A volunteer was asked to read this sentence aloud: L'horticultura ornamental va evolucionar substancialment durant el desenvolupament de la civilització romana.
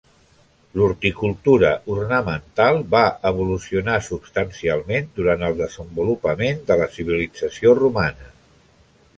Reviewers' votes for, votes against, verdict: 3, 0, accepted